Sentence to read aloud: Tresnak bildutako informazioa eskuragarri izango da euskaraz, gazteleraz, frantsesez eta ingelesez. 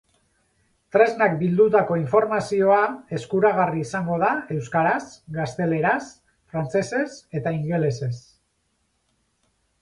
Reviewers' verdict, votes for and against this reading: accepted, 4, 0